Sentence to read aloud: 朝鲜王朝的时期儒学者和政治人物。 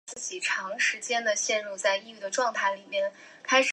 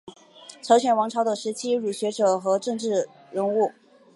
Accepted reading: second